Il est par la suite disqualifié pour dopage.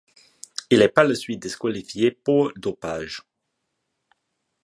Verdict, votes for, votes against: accepted, 2, 1